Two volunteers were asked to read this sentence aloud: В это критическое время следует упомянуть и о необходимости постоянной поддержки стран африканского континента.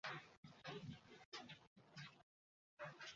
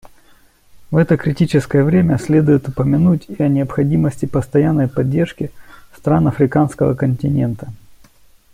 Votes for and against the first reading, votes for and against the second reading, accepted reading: 0, 2, 2, 0, second